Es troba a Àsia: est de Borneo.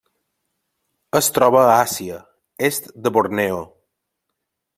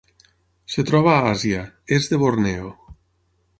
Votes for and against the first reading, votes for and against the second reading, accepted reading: 3, 1, 0, 6, first